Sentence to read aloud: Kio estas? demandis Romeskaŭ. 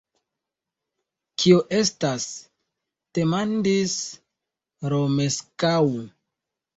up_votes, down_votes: 2, 0